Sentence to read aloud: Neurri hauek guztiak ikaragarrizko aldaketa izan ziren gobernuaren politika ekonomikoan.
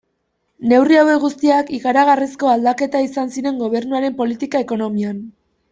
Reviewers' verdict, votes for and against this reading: rejected, 1, 2